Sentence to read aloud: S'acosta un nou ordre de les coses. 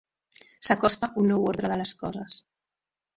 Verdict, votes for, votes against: accepted, 2, 0